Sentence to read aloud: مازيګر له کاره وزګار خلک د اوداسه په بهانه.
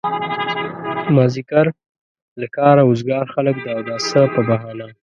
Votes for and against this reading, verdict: 1, 2, rejected